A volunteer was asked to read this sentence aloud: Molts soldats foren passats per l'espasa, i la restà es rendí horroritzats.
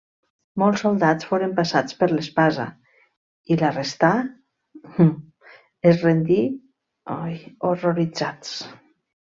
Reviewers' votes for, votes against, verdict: 0, 2, rejected